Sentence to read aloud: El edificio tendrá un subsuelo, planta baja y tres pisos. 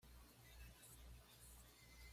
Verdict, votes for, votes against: rejected, 1, 2